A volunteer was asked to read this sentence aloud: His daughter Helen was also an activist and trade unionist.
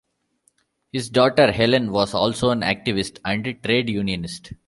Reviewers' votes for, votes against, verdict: 1, 2, rejected